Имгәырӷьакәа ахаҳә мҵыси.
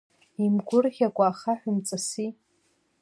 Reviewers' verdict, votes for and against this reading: rejected, 0, 2